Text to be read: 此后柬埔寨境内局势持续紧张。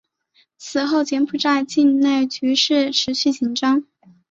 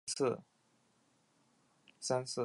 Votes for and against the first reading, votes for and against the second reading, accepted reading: 3, 0, 0, 2, first